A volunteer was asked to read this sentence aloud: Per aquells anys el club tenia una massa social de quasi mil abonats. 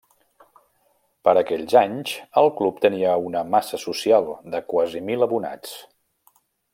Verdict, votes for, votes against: rejected, 1, 2